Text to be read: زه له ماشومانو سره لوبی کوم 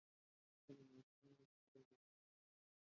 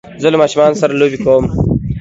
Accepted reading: second